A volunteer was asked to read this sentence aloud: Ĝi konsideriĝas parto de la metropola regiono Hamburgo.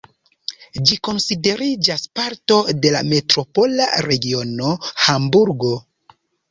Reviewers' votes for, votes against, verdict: 2, 0, accepted